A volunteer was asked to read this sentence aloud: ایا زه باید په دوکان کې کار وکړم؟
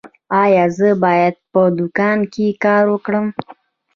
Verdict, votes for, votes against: accepted, 2, 0